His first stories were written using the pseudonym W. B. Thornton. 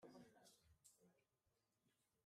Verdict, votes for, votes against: rejected, 1, 2